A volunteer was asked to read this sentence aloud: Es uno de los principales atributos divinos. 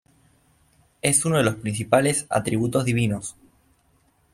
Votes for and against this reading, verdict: 2, 0, accepted